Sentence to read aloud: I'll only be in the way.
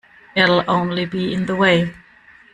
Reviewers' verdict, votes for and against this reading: rejected, 1, 2